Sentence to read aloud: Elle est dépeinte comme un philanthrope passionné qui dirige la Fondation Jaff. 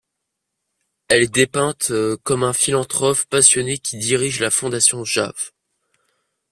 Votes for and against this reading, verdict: 0, 2, rejected